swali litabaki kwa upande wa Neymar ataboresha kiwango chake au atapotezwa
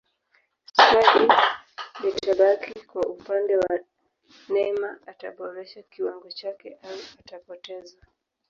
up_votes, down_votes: 0, 2